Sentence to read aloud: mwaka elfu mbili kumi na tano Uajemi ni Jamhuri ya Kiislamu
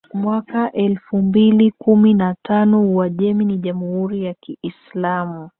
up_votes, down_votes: 2, 0